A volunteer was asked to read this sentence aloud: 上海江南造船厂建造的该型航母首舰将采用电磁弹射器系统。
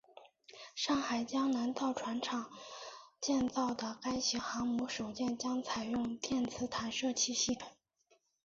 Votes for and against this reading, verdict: 2, 1, accepted